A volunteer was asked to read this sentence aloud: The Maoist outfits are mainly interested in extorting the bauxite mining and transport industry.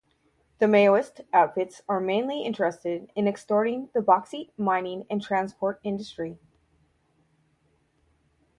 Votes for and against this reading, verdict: 4, 0, accepted